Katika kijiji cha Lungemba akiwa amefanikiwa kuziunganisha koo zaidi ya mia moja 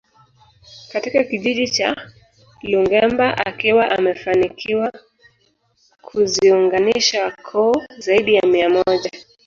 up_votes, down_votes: 4, 0